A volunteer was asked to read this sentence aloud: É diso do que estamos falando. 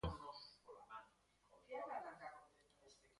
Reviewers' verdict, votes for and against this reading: rejected, 0, 2